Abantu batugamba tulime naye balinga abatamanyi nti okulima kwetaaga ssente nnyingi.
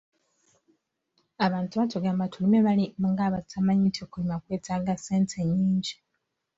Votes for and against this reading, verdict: 1, 2, rejected